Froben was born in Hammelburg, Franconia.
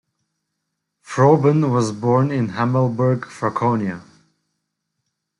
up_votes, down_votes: 2, 0